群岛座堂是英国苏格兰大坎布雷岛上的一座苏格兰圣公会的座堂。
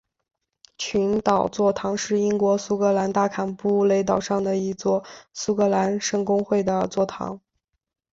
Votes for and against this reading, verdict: 2, 0, accepted